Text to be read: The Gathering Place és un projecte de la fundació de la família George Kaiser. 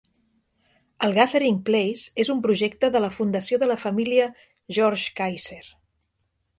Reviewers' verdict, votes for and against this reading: rejected, 0, 2